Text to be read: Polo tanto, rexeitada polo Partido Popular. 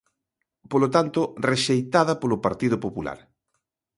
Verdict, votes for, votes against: accepted, 2, 0